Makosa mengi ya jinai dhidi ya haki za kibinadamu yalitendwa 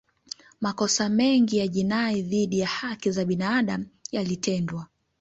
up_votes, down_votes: 1, 2